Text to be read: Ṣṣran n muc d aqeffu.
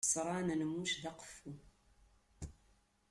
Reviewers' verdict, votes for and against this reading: rejected, 0, 2